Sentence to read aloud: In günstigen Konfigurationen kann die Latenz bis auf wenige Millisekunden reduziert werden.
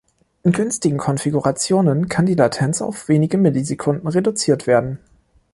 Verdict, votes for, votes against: rejected, 1, 2